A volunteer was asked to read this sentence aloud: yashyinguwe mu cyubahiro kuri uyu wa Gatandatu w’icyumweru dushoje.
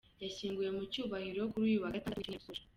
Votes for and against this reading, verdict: 0, 2, rejected